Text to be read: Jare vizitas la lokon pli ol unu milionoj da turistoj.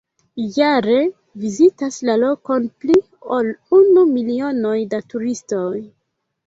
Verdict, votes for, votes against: rejected, 1, 2